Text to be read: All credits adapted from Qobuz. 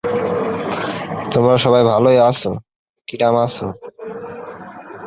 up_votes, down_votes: 0, 2